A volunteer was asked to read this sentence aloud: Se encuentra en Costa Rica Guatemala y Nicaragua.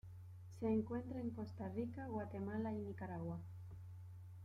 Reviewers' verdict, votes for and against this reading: accepted, 2, 0